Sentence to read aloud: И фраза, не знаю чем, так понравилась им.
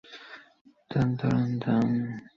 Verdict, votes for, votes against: rejected, 0, 2